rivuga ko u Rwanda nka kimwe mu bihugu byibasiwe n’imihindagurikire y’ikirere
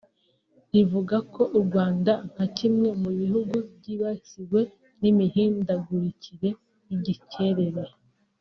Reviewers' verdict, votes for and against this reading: rejected, 0, 2